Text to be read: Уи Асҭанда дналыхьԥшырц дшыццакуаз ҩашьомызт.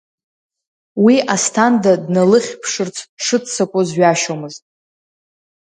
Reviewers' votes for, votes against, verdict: 1, 2, rejected